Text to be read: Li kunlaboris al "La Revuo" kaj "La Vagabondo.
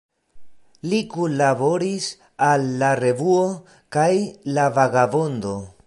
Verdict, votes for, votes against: accepted, 2, 0